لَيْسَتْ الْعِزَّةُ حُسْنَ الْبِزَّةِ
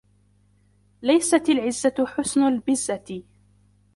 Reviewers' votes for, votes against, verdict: 1, 2, rejected